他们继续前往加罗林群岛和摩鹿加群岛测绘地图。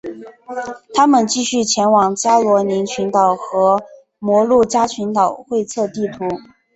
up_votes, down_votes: 0, 2